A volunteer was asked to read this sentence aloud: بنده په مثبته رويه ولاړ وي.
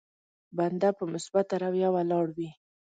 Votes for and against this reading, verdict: 2, 0, accepted